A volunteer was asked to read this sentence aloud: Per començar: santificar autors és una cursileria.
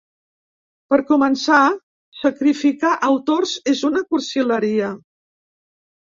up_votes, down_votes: 1, 2